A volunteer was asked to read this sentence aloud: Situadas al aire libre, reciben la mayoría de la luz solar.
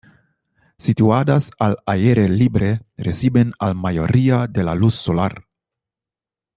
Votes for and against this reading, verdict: 0, 2, rejected